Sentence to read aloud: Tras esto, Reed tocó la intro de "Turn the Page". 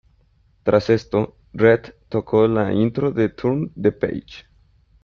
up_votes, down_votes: 2, 1